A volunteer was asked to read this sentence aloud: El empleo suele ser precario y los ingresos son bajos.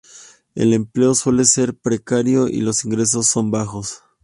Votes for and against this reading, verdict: 1, 2, rejected